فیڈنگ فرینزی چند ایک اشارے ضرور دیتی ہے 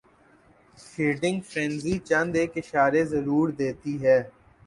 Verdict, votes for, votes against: accepted, 8, 0